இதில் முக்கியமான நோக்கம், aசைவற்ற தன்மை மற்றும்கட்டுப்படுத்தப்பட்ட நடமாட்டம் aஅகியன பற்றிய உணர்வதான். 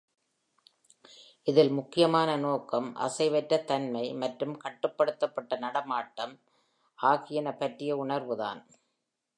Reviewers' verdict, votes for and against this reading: rejected, 0, 2